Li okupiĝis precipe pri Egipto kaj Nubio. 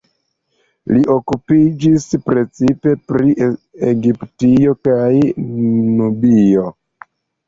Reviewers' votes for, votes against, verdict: 1, 2, rejected